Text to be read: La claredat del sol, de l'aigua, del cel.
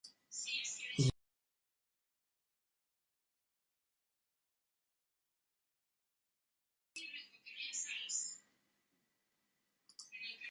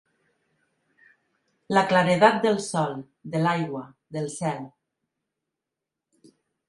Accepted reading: second